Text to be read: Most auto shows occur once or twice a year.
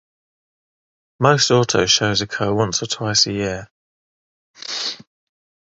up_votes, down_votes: 0, 3